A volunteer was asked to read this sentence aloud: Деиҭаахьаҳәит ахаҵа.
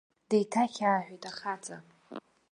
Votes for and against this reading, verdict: 0, 2, rejected